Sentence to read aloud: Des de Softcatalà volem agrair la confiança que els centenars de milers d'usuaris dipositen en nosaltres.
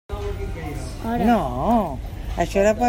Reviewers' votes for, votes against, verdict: 0, 2, rejected